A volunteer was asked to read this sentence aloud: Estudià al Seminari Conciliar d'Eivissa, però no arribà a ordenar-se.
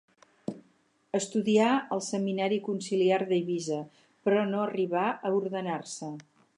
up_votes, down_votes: 0, 4